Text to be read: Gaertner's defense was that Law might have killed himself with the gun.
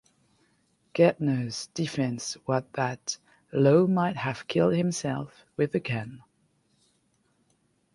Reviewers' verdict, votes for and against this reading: rejected, 1, 2